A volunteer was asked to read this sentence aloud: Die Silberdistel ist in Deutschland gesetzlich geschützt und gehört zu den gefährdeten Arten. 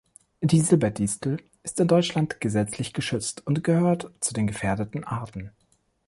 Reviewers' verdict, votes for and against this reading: accepted, 3, 0